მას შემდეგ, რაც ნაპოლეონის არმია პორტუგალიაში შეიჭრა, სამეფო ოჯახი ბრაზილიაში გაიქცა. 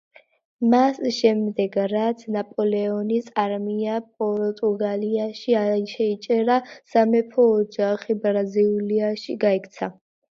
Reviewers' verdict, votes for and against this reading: rejected, 1, 2